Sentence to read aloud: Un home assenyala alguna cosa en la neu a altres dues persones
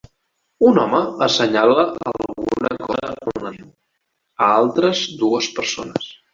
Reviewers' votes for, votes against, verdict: 0, 2, rejected